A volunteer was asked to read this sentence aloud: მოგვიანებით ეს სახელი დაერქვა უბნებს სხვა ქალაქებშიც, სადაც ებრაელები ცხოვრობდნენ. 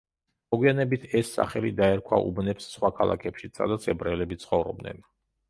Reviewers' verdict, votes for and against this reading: accepted, 2, 0